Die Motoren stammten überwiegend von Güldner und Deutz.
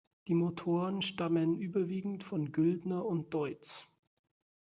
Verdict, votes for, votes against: rejected, 1, 2